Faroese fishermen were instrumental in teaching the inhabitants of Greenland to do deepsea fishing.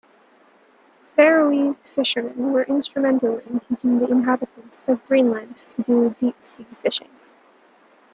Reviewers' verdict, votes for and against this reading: accepted, 2, 1